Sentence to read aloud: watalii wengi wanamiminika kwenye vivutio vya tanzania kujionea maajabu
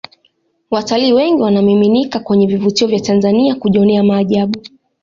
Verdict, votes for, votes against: accepted, 2, 1